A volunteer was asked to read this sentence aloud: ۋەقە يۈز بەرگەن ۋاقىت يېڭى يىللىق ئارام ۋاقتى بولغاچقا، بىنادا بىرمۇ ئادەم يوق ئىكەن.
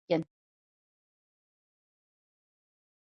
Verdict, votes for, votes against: rejected, 0, 2